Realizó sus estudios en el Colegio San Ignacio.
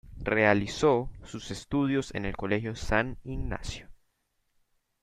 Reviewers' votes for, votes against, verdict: 2, 0, accepted